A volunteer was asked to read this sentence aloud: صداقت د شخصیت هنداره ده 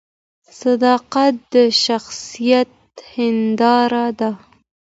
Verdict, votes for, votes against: accepted, 2, 0